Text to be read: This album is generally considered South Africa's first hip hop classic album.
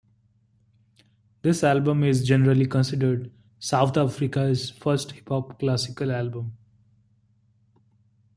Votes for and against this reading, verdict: 0, 2, rejected